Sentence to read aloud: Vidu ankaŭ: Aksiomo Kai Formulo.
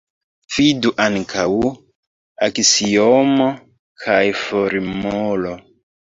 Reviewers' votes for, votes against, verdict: 0, 2, rejected